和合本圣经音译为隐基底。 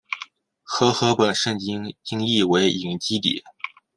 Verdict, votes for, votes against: accepted, 2, 0